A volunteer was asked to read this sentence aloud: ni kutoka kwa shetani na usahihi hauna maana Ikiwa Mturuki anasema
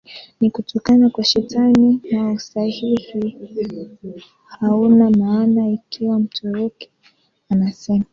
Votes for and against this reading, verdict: 1, 2, rejected